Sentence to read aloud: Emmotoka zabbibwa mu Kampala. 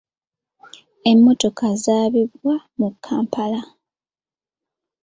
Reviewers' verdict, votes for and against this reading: rejected, 0, 2